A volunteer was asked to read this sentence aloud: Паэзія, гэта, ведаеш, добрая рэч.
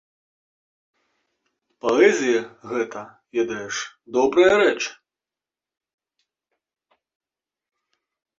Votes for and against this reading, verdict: 2, 0, accepted